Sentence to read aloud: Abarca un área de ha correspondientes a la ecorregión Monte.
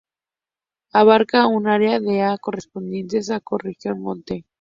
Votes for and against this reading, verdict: 4, 0, accepted